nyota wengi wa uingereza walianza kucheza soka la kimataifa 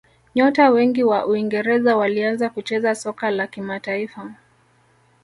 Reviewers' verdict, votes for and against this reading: accepted, 2, 0